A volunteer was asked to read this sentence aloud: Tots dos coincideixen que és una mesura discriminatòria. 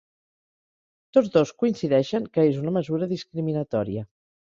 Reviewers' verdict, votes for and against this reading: accepted, 2, 0